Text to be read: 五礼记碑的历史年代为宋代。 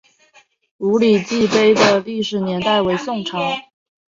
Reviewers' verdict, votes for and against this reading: rejected, 1, 2